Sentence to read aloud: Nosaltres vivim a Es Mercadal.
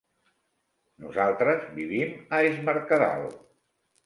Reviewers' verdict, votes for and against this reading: accepted, 3, 0